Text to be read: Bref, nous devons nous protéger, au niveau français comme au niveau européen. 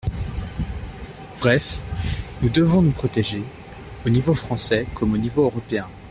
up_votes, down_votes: 3, 0